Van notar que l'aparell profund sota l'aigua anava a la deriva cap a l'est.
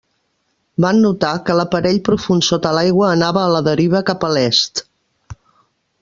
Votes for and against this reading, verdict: 2, 0, accepted